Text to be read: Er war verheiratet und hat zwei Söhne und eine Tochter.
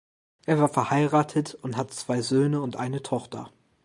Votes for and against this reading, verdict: 2, 0, accepted